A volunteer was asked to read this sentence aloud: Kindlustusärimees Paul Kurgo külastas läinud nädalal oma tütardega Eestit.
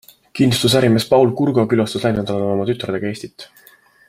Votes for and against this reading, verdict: 2, 1, accepted